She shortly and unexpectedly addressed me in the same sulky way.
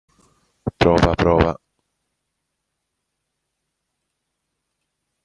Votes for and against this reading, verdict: 0, 2, rejected